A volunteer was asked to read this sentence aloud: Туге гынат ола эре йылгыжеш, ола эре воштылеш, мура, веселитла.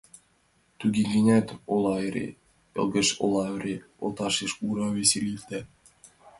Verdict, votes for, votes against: rejected, 0, 2